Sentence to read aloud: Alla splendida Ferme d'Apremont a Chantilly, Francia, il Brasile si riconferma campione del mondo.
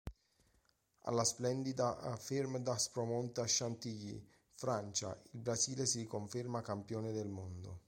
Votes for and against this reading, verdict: 1, 2, rejected